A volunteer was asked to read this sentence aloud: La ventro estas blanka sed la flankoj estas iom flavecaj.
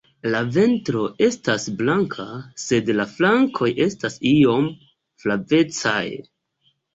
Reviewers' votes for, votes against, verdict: 2, 0, accepted